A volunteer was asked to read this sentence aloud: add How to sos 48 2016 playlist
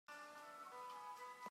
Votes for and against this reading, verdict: 0, 2, rejected